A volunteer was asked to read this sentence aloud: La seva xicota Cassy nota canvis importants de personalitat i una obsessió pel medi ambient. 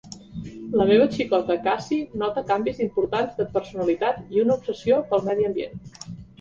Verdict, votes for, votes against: rejected, 0, 2